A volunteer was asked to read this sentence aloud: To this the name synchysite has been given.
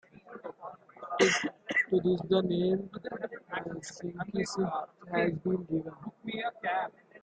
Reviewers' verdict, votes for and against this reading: rejected, 0, 2